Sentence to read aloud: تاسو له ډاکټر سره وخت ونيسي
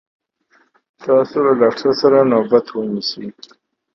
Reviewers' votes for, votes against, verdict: 1, 2, rejected